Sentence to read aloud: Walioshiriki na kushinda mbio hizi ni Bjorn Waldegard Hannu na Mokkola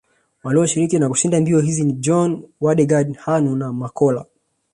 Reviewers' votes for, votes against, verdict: 2, 0, accepted